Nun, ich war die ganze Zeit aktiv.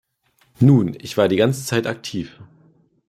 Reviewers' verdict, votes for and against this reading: accepted, 2, 0